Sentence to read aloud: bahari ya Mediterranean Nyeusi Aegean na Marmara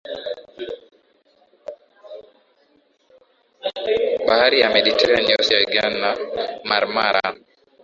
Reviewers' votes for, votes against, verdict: 3, 6, rejected